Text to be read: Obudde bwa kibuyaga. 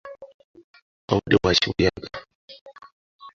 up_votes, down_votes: 0, 2